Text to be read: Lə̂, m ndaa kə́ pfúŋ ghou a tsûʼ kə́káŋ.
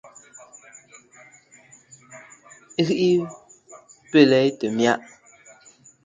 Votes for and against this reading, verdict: 0, 2, rejected